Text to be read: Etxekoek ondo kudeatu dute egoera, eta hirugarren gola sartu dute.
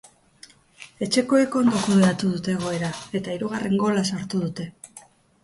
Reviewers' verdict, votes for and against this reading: accepted, 2, 0